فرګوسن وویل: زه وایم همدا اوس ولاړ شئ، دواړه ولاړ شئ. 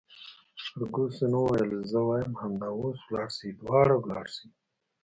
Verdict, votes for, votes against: rejected, 0, 2